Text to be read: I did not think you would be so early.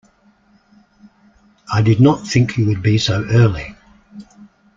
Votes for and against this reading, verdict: 2, 0, accepted